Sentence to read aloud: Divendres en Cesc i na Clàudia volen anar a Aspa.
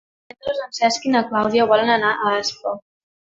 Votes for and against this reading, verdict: 0, 2, rejected